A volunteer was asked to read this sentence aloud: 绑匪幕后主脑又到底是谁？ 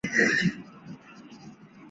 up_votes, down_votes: 1, 3